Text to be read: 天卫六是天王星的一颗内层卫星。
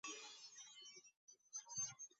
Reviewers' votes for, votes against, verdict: 0, 2, rejected